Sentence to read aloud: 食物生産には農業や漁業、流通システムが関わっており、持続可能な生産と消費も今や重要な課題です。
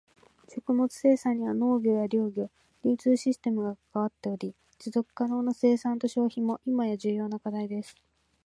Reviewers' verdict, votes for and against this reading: accepted, 2, 0